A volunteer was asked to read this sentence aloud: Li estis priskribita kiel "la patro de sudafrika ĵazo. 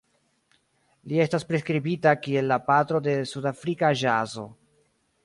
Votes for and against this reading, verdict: 0, 2, rejected